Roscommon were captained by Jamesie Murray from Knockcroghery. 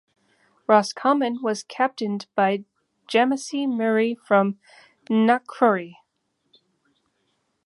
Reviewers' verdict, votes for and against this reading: rejected, 1, 2